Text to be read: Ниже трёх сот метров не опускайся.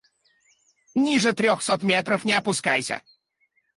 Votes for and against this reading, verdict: 0, 4, rejected